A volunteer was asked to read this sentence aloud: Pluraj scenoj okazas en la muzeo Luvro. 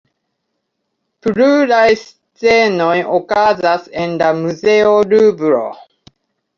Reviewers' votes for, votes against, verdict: 2, 0, accepted